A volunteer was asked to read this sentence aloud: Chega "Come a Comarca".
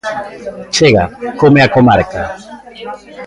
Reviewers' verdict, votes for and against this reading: accepted, 2, 0